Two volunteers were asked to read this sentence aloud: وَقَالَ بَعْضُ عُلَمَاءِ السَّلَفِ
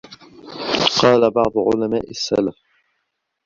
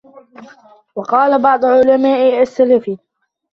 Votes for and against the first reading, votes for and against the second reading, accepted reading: 4, 0, 1, 2, first